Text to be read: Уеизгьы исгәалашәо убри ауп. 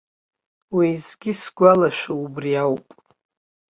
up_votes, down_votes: 3, 0